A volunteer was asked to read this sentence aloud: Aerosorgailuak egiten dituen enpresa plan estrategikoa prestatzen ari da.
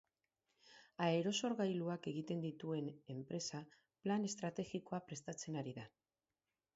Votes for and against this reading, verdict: 2, 6, rejected